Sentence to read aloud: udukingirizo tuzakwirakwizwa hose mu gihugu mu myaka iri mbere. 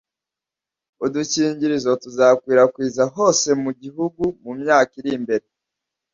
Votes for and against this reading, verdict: 1, 2, rejected